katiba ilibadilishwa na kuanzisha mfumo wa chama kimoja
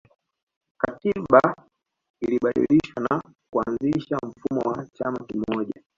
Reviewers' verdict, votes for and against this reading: rejected, 0, 2